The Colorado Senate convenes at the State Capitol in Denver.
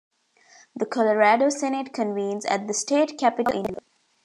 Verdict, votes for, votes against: rejected, 1, 2